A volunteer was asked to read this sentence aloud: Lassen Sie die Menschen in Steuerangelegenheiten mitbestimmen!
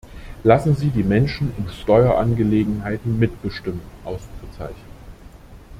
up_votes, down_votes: 0, 2